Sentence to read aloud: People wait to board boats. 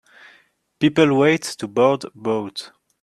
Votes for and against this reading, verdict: 3, 2, accepted